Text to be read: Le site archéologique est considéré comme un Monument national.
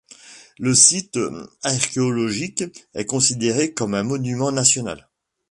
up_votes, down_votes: 2, 0